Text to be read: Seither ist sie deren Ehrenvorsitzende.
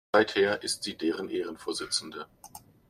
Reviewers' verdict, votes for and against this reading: rejected, 0, 2